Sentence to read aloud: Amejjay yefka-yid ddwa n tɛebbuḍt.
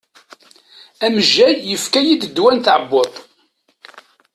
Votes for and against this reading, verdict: 2, 0, accepted